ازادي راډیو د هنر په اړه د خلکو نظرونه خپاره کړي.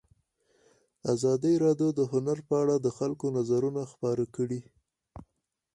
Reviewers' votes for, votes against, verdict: 2, 4, rejected